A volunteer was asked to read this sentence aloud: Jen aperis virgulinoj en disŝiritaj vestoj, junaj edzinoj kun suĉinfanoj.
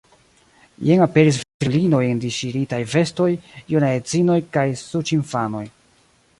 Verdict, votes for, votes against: rejected, 0, 2